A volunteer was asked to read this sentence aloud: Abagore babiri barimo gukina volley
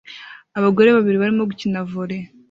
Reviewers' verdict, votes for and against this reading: accepted, 2, 0